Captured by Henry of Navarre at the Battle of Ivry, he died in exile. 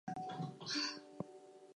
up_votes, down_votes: 0, 4